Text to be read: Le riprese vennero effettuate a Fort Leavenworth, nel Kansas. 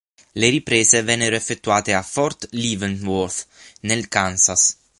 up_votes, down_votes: 6, 0